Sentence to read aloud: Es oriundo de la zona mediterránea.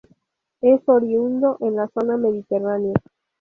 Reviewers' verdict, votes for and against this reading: rejected, 2, 2